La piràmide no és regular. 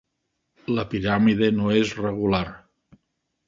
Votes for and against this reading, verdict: 2, 0, accepted